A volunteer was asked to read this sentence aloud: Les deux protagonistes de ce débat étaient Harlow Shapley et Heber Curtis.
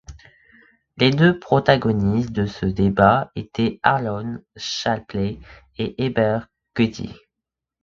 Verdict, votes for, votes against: rejected, 1, 3